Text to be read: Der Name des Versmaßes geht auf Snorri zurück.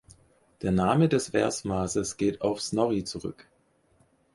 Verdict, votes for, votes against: accepted, 4, 0